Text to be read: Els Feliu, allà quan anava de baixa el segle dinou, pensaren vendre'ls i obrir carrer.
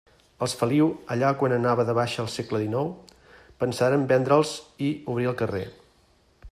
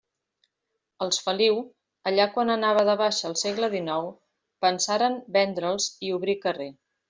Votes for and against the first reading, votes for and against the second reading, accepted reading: 1, 2, 2, 0, second